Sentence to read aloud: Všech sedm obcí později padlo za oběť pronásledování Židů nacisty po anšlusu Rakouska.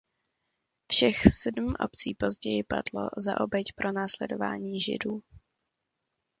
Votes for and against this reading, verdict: 0, 2, rejected